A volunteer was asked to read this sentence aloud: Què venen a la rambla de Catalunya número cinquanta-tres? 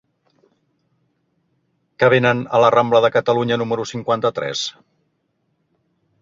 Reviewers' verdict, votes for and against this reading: accepted, 3, 1